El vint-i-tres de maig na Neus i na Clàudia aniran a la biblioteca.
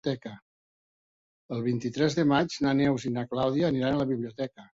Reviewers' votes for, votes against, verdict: 1, 2, rejected